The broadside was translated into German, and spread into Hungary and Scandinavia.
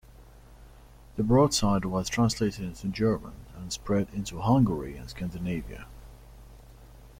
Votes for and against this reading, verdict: 2, 0, accepted